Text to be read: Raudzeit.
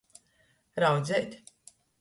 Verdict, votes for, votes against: accepted, 2, 0